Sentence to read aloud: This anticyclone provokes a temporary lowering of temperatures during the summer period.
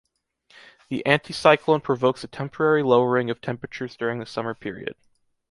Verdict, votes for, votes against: rejected, 0, 2